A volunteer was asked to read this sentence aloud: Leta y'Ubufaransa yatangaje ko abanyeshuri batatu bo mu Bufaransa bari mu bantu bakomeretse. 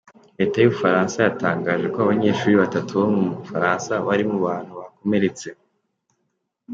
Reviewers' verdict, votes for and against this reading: accepted, 2, 0